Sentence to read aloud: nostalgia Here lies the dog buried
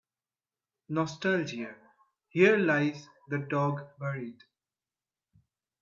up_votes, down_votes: 2, 0